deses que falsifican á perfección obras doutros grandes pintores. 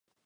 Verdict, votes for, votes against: rejected, 0, 2